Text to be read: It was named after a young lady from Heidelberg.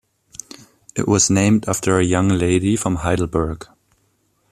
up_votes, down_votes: 1, 2